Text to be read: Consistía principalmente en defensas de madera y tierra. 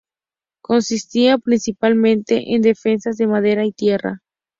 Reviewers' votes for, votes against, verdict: 2, 0, accepted